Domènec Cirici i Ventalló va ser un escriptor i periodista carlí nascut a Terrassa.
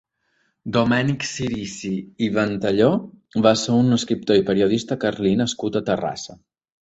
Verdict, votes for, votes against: accepted, 4, 0